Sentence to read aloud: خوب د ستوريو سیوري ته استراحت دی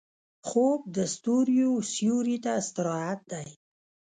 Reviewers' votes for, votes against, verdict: 0, 2, rejected